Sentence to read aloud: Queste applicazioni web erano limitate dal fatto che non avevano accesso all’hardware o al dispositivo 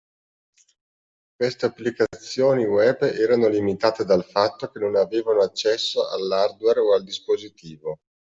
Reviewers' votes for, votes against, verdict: 2, 0, accepted